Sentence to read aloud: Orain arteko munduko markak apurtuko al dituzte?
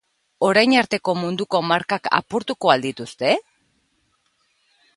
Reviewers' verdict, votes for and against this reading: accepted, 2, 0